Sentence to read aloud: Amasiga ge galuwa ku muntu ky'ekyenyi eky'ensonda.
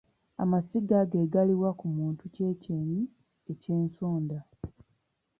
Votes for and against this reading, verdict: 2, 0, accepted